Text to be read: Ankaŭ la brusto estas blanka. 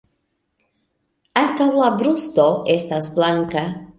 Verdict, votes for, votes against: accepted, 2, 0